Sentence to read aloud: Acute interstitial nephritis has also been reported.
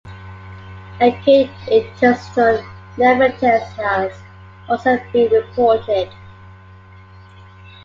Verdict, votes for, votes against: rejected, 1, 2